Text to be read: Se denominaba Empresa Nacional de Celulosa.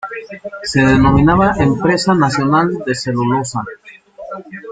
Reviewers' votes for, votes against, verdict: 2, 0, accepted